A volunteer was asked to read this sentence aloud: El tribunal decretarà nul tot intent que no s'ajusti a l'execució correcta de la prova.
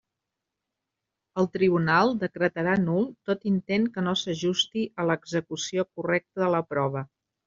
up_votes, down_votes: 2, 0